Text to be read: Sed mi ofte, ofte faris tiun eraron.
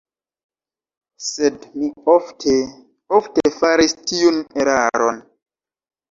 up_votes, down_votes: 1, 2